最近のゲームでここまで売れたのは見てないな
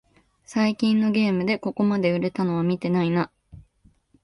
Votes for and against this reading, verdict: 2, 0, accepted